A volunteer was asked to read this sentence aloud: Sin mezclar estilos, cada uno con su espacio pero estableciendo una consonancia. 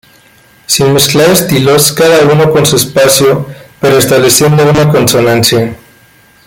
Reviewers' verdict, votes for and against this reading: accepted, 2, 1